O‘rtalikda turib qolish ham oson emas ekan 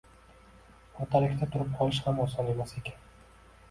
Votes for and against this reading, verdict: 2, 1, accepted